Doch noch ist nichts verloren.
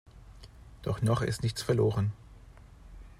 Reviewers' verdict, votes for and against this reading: accepted, 2, 0